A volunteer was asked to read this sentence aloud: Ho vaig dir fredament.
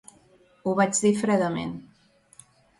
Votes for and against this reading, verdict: 2, 0, accepted